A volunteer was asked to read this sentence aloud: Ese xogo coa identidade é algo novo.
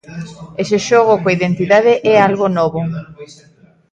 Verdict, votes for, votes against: rejected, 0, 2